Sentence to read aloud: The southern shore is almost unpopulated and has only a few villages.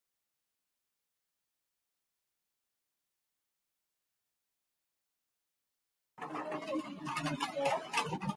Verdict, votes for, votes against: rejected, 0, 2